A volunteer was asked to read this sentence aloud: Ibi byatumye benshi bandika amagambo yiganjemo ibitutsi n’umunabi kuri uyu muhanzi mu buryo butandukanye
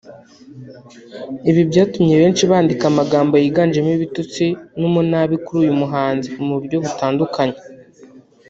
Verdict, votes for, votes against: rejected, 0, 2